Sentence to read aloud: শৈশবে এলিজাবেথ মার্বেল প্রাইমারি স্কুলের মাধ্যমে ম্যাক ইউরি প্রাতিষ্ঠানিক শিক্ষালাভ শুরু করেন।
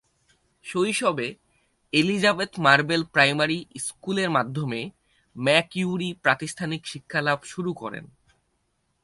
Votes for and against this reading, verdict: 2, 0, accepted